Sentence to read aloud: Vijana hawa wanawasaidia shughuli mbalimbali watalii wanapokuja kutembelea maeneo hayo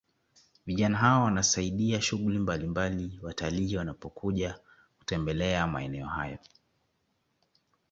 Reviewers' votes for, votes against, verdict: 0, 2, rejected